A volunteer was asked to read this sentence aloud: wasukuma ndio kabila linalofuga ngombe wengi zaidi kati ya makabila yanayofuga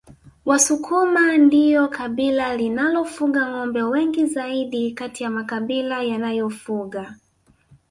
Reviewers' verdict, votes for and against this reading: rejected, 2, 3